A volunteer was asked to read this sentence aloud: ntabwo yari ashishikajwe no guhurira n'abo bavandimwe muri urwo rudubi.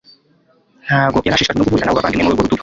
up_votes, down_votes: 1, 2